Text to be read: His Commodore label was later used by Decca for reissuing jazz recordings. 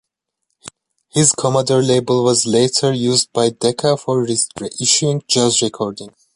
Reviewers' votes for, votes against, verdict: 0, 2, rejected